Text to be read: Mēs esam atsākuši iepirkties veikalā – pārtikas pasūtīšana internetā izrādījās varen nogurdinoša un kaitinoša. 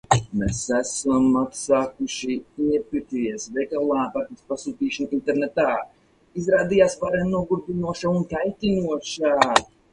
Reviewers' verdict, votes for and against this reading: rejected, 2, 2